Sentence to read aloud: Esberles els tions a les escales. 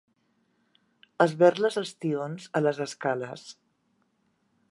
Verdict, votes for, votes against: accepted, 2, 0